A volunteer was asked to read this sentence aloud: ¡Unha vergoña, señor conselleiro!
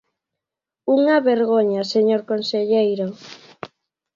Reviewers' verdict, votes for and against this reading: accepted, 2, 0